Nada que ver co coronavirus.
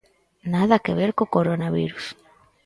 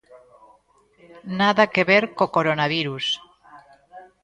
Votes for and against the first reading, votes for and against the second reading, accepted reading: 4, 0, 1, 2, first